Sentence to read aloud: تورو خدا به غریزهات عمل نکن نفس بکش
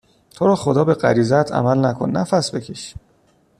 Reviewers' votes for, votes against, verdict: 2, 0, accepted